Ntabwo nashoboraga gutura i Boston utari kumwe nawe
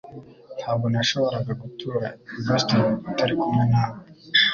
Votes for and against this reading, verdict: 2, 0, accepted